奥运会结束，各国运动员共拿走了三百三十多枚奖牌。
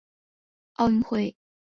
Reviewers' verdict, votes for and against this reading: rejected, 1, 2